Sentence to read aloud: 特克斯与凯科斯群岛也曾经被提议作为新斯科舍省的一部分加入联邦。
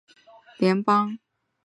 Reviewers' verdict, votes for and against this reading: rejected, 0, 2